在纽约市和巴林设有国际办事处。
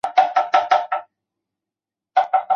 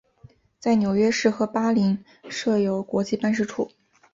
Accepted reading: second